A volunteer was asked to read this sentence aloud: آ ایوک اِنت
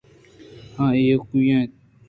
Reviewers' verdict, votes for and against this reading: accepted, 2, 0